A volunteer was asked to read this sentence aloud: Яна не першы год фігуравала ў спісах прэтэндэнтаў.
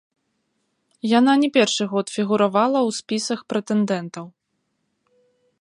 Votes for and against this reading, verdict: 1, 3, rejected